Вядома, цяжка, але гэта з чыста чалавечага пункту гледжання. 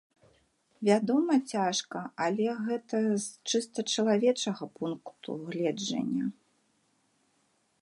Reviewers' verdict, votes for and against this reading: accepted, 2, 0